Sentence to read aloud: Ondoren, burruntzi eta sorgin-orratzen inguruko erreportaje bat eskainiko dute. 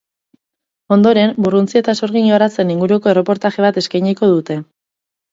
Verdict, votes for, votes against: rejected, 2, 2